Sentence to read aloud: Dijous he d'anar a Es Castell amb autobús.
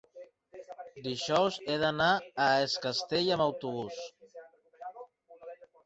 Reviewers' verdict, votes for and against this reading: rejected, 0, 2